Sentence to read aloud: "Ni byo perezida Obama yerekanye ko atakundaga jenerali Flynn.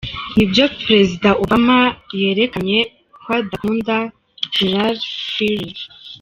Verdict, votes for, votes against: rejected, 1, 2